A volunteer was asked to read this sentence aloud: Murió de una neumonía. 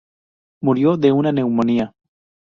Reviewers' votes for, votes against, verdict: 0, 2, rejected